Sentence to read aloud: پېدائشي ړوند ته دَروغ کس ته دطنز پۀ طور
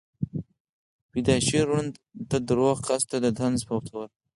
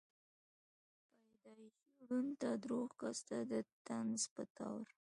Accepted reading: first